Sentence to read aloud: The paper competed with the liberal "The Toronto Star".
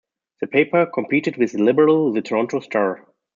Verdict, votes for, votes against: accepted, 2, 0